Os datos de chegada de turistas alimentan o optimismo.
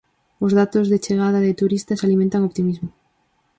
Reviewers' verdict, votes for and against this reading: accepted, 4, 0